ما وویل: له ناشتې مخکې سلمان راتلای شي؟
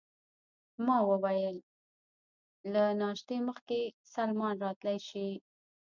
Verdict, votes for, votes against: rejected, 0, 2